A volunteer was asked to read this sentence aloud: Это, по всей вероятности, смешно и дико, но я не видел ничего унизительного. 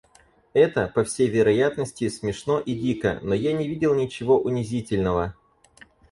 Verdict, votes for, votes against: accepted, 4, 0